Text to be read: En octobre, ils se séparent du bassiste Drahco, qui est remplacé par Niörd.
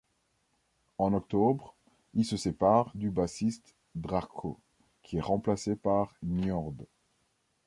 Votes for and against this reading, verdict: 2, 0, accepted